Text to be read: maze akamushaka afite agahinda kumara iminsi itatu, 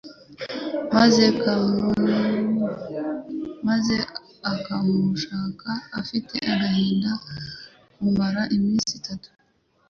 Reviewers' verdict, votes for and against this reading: rejected, 0, 2